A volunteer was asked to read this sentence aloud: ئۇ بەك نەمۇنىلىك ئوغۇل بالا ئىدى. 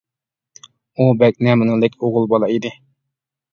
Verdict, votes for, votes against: rejected, 0, 2